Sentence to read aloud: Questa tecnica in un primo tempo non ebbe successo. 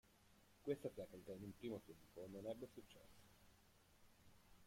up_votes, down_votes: 0, 2